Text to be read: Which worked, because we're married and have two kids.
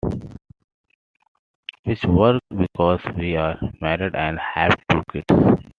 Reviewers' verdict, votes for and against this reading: accepted, 2, 0